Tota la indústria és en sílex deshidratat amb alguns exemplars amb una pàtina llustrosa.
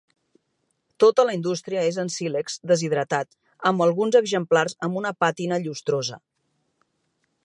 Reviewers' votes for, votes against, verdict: 3, 0, accepted